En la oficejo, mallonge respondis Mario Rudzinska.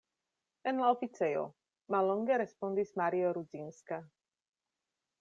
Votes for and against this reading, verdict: 2, 0, accepted